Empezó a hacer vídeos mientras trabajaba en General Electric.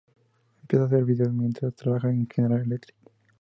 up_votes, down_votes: 0, 2